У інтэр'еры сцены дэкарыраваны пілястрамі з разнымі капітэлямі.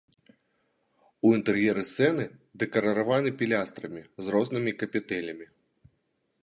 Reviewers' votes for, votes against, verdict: 2, 1, accepted